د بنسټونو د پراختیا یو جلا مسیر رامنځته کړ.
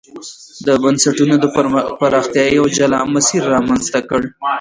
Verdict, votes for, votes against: accepted, 2, 1